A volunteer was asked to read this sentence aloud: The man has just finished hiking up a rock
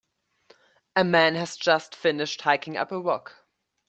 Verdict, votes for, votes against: rejected, 0, 2